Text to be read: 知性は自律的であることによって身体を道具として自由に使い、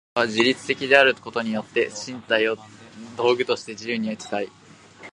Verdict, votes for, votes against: rejected, 1, 2